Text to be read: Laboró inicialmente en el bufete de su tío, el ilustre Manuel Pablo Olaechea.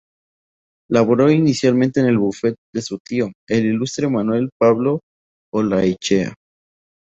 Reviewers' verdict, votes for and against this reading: accepted, 2, 0